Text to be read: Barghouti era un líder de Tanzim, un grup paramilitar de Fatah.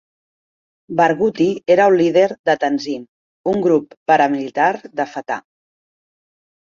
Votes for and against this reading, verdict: 2, 1, accepted